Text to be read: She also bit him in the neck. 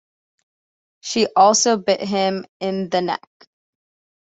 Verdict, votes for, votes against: accepted, 2, 0